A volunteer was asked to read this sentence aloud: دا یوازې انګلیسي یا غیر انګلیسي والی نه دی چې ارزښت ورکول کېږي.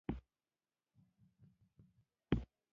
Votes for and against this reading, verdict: 0, 2, rejected